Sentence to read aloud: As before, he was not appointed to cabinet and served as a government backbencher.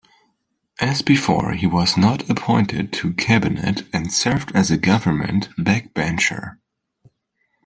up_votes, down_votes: 2, 0